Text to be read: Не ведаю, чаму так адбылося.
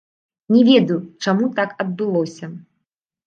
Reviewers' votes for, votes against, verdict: 1, 2, rejected